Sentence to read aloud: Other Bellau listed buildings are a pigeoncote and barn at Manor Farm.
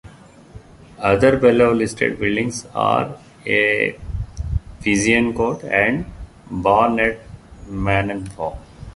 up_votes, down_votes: 0, 2